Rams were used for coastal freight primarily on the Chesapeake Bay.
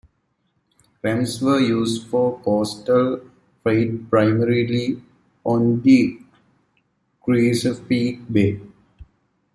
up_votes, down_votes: 0, 2